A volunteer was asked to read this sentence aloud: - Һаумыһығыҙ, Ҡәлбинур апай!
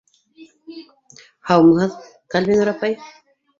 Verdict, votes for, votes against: accepted, 3, 1